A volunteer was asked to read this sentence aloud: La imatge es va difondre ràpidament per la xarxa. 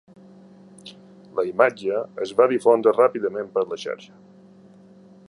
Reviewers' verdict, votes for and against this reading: accepted, 3, 0